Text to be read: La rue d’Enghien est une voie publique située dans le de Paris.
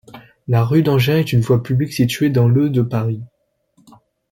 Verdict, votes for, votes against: accepted, 2, 0